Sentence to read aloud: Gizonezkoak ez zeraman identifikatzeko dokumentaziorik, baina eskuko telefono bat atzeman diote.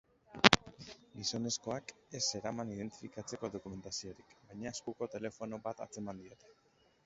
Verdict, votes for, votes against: accepted, 3, 0